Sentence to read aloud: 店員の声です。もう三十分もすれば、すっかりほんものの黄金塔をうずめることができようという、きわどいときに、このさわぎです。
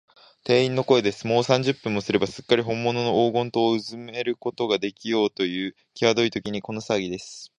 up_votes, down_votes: 2, 0